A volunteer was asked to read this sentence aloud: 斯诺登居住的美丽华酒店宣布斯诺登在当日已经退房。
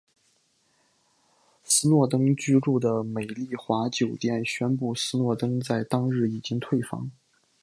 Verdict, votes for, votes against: accepted, 2, 0